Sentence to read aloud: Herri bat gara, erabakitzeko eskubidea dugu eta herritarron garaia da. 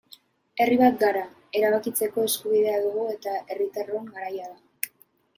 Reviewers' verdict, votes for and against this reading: accepted, 2, 0